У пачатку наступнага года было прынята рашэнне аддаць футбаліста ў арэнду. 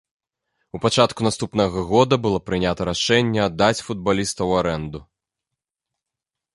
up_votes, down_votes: 2, 0